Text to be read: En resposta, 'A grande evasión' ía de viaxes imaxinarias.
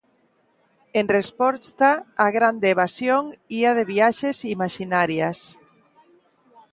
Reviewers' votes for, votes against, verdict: 2, 0, accepted